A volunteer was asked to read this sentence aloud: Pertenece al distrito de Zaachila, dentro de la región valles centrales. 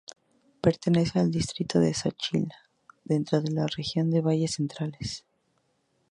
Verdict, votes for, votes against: rejected, 0, 2